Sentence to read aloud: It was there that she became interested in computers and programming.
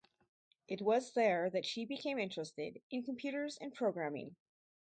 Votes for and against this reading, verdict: 4, 0, accepted